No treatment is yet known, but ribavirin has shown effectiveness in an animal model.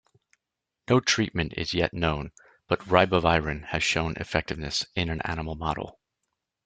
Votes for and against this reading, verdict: 2, 0, accepted